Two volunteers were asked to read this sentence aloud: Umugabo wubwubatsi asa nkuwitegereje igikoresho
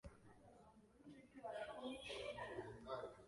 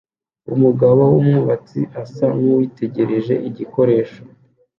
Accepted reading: second